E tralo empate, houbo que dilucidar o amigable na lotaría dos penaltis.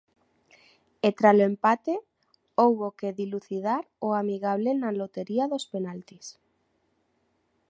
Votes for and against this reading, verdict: 0, 3, rejected